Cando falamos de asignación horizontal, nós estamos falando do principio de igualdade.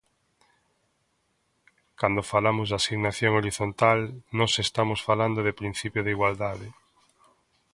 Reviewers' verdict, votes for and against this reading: accepted, 2, 0